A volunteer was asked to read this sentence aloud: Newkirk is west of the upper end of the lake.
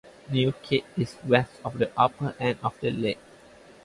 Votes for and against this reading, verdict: 0, 2, rejected